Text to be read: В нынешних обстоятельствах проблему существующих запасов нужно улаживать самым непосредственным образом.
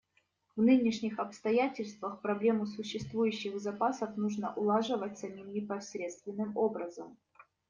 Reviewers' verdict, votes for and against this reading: rejected, 1, 2